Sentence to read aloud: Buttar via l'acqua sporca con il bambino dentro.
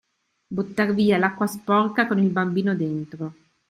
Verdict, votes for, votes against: accepted, 2, 0